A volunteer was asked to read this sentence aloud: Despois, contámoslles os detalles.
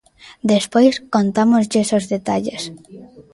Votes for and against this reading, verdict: 0, 2, rejected